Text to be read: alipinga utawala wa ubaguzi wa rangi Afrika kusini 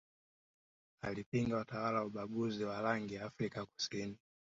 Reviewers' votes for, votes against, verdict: 2, 1, accepted